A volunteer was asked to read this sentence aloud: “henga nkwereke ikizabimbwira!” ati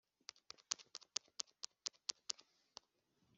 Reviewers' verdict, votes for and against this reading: rejected, 0, 2